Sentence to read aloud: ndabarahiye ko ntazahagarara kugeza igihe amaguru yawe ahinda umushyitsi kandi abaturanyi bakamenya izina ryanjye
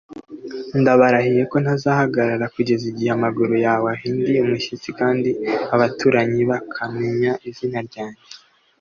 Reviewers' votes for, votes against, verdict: 2, 0, accepted